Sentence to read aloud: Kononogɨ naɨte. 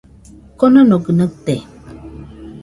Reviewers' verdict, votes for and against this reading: rejected, 0, 2